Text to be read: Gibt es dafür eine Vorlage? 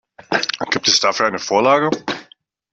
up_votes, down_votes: 2, 0